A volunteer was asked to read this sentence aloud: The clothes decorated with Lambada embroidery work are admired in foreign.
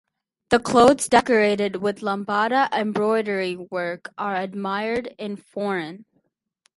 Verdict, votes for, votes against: accepted, 4, 0